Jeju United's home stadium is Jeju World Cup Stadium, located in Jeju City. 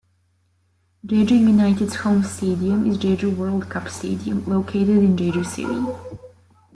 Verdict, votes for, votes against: accepted, 2, 0